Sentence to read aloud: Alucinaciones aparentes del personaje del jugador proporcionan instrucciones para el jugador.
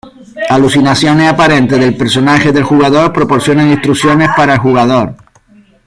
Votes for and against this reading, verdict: 2, 0, accepted